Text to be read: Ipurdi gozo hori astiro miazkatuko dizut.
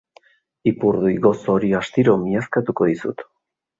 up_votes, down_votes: 2, 0